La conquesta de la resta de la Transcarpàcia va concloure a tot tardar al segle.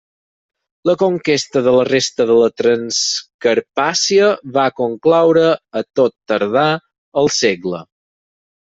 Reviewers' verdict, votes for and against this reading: rejected, 2, 4